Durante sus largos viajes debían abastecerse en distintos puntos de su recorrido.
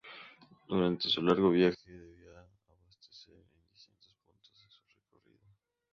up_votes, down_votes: 0, 2